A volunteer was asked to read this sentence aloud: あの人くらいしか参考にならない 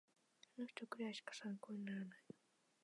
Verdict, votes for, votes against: rejected, 0, 2